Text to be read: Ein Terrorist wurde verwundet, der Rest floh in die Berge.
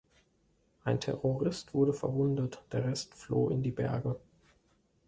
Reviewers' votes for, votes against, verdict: 2, 0, accepted